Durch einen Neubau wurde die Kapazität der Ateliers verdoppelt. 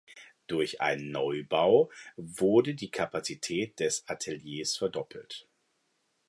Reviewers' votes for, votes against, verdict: 2, 0, accepted